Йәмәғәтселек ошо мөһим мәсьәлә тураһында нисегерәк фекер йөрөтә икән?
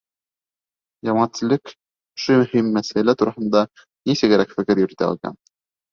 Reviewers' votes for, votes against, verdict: 1, 2, rejected